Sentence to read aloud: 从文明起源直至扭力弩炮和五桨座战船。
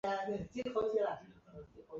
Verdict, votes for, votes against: rejected, 0, 4